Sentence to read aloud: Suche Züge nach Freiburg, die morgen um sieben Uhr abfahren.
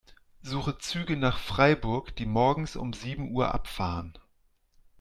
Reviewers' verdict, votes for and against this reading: rejected, 0, 2